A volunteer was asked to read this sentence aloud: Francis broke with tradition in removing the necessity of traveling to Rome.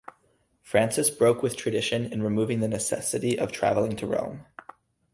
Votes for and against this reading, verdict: 2, 0, accepted